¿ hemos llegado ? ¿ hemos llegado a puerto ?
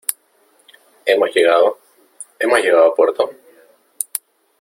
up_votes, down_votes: 2, 0